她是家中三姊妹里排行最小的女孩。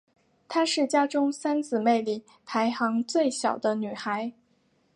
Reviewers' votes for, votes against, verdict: 4, 0, accepted